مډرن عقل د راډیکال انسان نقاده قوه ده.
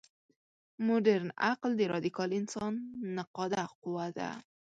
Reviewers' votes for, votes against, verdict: 1, 2, rejected